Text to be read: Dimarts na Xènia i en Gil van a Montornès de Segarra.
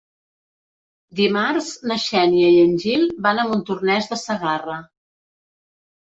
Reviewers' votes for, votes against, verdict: 3, 0, accepted